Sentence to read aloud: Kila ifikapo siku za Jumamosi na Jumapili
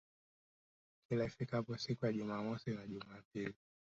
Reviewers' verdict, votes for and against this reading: accepted, 4, 2